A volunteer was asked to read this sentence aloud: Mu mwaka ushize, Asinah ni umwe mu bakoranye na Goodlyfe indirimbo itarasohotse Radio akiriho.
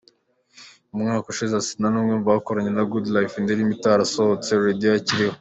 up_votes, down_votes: 2, 0